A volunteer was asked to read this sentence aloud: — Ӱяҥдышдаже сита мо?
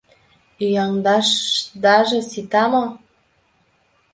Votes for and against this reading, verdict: 1, 2, rejected